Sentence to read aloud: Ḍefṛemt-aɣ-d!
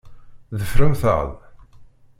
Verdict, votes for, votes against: rejected, 1, 2